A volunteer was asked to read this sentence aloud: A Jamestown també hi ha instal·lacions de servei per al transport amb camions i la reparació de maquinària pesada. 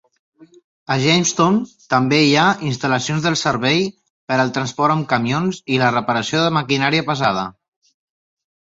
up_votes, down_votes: 1, 3